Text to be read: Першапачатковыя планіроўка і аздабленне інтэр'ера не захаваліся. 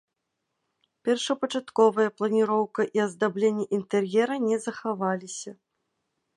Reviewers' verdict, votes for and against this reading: accepted, 3, 0